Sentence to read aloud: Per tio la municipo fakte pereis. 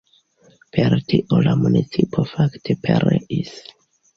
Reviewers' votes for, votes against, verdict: 1, 2, rejected